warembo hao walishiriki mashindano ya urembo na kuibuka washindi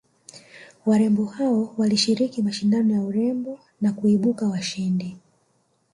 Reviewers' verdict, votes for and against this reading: rejected, 1, 2